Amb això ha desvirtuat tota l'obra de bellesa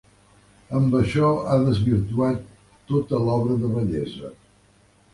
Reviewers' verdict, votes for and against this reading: accepted, 3, 0